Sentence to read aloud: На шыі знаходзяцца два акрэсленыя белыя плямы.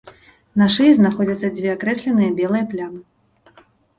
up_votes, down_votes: 0, 4